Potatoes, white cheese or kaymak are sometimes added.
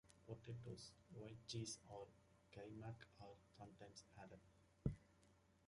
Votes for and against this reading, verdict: 0, 2, rejected